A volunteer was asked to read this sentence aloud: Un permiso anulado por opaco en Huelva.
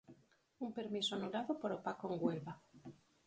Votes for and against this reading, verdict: 4, 0, accepted